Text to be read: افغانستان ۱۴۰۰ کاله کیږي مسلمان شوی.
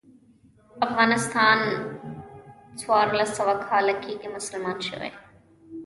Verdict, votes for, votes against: rejected, 0, 2